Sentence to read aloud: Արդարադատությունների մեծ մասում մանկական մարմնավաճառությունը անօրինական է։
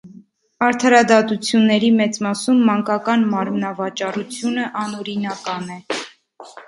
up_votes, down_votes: 0, 2